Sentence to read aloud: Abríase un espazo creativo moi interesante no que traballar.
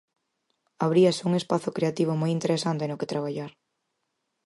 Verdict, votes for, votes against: accepted, 4, 0